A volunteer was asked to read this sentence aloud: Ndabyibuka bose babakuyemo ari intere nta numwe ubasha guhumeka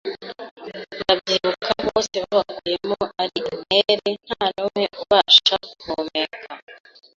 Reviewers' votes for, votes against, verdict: 0, 2, rejected